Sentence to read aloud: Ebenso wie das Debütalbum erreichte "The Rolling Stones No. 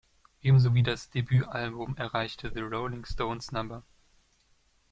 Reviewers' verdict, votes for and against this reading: accepted, 2, 0